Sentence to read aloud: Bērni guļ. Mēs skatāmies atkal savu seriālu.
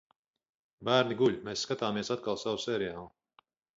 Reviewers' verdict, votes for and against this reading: rejected, 2, 2